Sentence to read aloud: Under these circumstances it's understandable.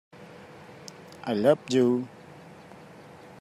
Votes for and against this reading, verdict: 0, 2, rejected